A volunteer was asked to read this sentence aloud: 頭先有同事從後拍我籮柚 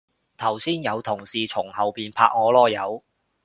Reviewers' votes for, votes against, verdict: 0, 2, rejected